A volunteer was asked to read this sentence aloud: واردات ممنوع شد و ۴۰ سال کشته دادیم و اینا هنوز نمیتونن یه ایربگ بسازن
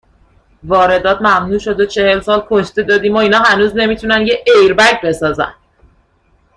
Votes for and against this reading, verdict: 0, 2, rejected